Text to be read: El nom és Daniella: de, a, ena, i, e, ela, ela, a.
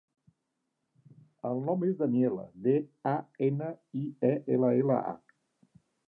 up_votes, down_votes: 3, 0